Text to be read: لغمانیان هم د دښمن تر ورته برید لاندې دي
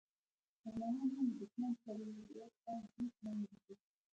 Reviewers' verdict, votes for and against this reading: rejected, 0, 2